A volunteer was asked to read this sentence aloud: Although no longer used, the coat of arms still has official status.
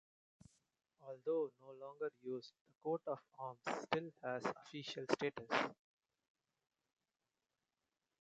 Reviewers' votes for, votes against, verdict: 1, 2, rejected